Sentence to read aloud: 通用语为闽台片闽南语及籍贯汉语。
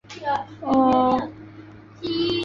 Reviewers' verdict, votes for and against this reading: rejected, 0, 2